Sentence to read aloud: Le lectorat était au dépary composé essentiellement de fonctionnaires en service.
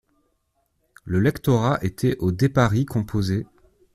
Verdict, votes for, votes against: rejected, 0, 2